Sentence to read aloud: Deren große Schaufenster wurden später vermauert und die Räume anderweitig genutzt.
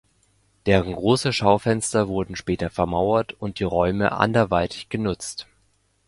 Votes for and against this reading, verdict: 2, 0, accepted